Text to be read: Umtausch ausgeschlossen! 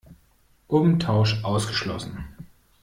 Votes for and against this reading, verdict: 2, 0, accepted